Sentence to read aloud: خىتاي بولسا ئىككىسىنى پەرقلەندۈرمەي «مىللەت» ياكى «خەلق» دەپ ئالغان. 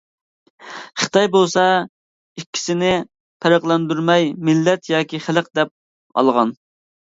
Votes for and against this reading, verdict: 2, 0, accepted